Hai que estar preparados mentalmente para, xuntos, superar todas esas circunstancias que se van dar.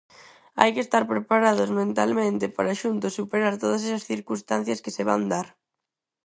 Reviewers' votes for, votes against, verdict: 4, 0, accepted